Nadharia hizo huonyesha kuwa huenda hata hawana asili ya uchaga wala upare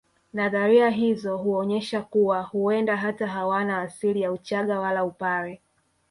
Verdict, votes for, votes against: accepted, 2, 1